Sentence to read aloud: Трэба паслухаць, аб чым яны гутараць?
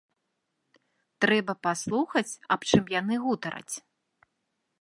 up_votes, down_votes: 2, 0